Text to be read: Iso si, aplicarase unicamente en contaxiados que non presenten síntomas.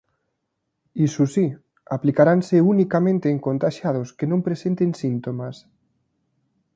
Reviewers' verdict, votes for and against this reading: rejected, 1, 2